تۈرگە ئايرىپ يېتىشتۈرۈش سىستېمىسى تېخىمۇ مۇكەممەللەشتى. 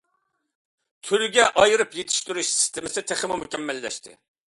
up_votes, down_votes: 2, 0